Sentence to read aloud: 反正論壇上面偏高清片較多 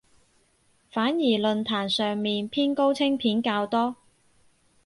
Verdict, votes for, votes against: rejected, 0, 4